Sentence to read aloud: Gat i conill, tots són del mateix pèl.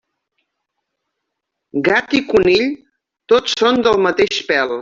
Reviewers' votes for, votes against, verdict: 3, 0, accepted